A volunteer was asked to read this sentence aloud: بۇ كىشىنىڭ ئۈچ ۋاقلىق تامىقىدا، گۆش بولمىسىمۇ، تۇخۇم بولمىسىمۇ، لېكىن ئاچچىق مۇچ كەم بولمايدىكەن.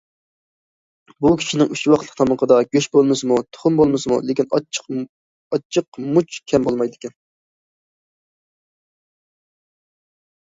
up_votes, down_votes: 0, 2